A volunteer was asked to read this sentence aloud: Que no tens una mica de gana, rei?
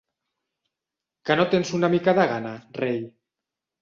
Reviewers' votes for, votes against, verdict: 3, 0, accepted